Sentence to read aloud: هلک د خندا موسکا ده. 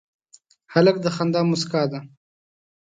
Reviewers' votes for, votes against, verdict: 2, 0, accepted